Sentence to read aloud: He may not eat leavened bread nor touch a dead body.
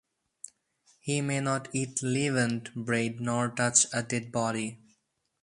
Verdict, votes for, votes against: accepted, 2, 0